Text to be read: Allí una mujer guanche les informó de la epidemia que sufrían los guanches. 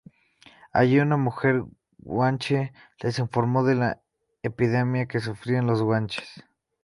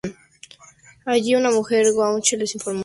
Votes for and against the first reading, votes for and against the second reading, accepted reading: 2, 0, 0, 2, first